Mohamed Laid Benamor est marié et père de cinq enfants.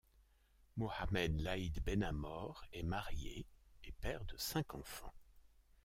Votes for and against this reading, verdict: 0, 2, rejected